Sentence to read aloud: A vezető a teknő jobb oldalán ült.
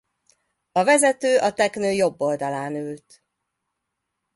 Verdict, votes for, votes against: accepted, 2, 0